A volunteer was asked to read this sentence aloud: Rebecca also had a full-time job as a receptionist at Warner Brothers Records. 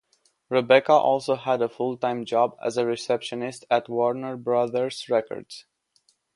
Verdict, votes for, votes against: accepted, 3, 0